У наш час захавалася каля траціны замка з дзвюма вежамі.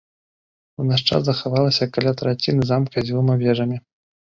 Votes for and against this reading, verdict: 2, 0, accepted